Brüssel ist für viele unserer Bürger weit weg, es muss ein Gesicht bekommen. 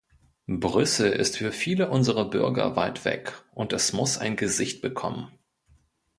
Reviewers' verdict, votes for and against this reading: rejected, 0, 2